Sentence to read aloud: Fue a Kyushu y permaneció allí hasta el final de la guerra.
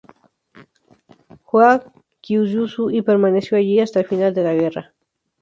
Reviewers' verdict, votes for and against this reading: accepted, 2, 0